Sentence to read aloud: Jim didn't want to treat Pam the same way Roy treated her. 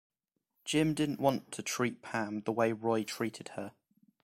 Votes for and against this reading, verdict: 0, 2, rejected